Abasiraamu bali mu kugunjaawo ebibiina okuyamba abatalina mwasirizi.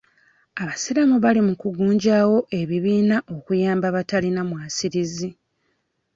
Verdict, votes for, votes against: accepted, 2, 0